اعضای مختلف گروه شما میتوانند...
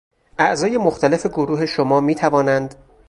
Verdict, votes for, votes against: rejected, 0, 2